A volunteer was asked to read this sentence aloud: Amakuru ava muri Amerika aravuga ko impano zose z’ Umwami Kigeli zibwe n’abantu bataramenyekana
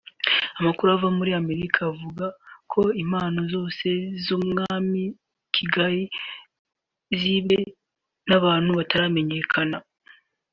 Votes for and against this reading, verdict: 1, 2, rejected